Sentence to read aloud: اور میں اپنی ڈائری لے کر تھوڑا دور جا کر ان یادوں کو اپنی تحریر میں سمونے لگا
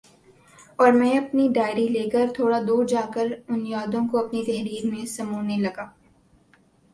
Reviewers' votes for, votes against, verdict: 2, 0, accepted